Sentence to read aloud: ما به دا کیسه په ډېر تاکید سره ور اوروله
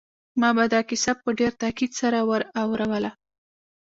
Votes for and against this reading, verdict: 1, 2, rejected